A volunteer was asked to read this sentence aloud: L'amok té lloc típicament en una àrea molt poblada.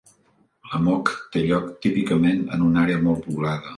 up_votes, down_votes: 2, 0